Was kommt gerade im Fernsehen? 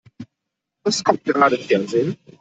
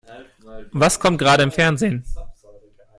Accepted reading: second